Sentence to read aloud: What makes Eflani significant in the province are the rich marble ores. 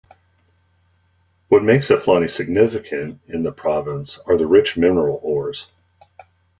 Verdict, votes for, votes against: rejected, 0, 2